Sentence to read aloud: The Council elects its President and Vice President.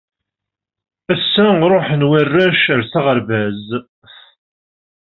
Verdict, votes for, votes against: rejected, 0, 2